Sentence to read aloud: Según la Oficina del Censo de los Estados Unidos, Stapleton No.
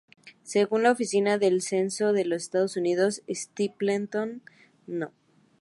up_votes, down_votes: 2, 0